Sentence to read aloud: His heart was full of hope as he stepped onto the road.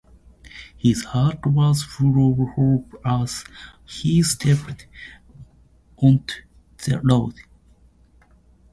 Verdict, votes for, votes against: accepted, 2, 0